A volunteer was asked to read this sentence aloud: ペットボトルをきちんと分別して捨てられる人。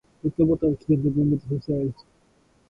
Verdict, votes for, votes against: rejected, 0, 2